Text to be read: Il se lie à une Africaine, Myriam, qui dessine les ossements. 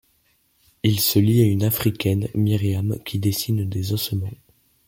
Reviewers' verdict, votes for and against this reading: rejected, 1, 2